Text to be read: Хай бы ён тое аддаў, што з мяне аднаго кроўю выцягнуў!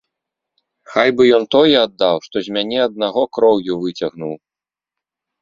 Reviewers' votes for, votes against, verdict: 2, 0, accepted